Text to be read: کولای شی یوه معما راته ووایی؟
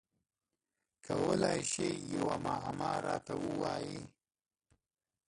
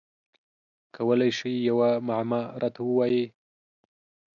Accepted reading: second